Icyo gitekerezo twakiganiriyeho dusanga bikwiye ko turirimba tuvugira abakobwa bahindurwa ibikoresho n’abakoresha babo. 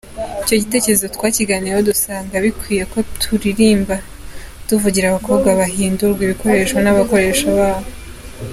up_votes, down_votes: 2, 0